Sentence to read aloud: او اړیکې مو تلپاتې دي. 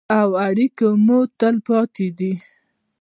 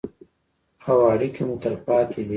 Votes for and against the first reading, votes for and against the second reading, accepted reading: 2, 0, 1, 2, first